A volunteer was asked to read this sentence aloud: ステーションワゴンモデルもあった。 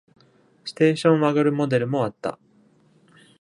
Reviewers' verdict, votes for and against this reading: rejected, 1, 2